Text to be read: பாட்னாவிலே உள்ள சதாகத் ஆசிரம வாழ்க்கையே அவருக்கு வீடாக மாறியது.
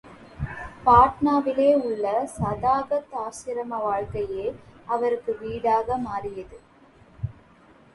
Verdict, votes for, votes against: rejected, 0, 3